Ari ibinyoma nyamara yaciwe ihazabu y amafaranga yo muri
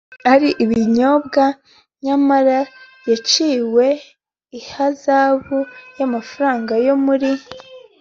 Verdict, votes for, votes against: accepted, 2, 0